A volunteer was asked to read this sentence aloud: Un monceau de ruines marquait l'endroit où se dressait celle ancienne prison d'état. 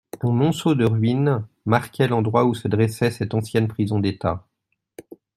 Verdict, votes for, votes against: accepted, 2, 1